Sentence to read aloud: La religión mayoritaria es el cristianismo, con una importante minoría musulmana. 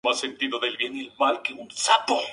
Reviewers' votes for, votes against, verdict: 0, 2, rejected